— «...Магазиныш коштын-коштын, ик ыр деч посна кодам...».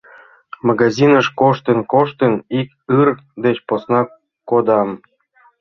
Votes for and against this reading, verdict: 2, 0, accepted